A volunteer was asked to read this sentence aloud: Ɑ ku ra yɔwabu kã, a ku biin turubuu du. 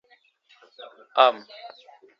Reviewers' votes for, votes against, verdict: 0, 3, rejected